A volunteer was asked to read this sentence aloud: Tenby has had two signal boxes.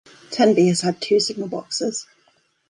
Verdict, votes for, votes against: accepted, 2, 0